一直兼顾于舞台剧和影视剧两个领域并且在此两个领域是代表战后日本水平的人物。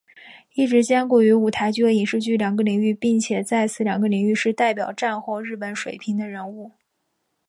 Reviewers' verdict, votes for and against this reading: accepted, 4, 0